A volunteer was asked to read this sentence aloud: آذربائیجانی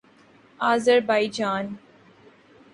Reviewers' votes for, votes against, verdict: 1, 2, rejected